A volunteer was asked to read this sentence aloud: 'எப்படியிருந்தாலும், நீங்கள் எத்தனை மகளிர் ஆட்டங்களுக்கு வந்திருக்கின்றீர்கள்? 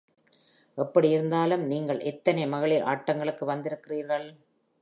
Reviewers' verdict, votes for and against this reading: accepted, 2, 0